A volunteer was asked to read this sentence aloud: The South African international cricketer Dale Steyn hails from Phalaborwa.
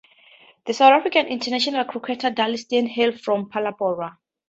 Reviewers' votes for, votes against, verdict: 2, 0, accepted